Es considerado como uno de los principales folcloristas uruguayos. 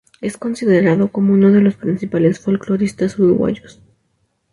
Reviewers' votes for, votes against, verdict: 0, 2, rejected